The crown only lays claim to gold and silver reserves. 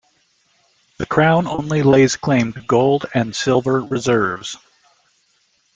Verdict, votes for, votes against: accepted, 2, 0